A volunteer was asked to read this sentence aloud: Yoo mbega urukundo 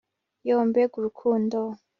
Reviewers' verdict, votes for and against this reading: accepted, 3, 0